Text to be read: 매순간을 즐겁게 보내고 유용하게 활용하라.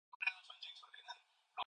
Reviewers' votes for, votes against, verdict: 0, 2, rejected